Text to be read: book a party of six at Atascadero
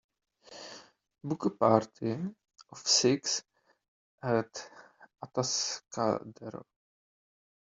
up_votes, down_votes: 2, 0